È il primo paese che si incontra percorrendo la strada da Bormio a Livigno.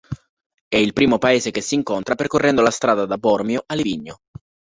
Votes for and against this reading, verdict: 2, 0, accepted